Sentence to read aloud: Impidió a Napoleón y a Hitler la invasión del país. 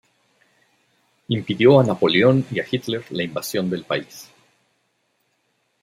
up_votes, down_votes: 2, 0